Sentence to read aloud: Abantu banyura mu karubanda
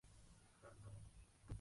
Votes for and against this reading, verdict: 0, 2, rejected